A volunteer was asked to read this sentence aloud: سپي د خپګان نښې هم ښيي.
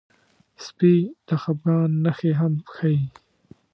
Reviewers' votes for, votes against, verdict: 2, 0, accepted